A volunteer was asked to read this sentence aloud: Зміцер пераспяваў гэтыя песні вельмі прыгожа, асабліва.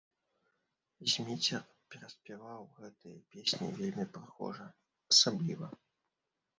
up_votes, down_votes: 1, 2